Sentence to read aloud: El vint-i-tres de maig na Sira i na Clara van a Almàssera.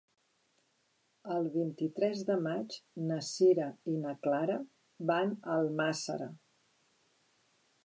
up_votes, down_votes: 2, 0